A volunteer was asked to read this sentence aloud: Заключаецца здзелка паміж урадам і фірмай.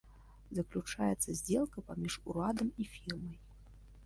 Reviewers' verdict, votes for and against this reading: accepted, 2, 0